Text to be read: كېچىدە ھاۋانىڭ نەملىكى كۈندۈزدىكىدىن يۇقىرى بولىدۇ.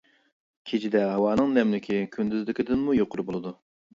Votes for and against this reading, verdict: 1, 2, rejected